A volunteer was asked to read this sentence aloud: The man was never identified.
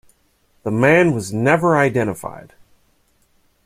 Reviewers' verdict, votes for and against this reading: accepted, 2, 0